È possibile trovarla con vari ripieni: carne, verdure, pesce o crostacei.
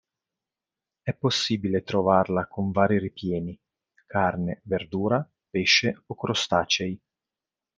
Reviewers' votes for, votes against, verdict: 0, 3, rejected